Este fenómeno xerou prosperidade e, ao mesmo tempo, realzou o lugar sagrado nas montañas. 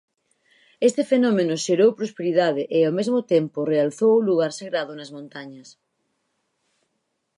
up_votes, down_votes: 4, 0